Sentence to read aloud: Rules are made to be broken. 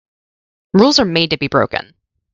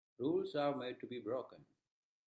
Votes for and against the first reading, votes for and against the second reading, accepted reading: 2, 0, 0, 2, first